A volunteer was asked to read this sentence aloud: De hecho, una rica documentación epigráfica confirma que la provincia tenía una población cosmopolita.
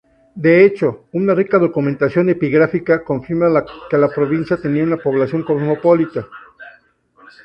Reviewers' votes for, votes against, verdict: 2, 2, rejected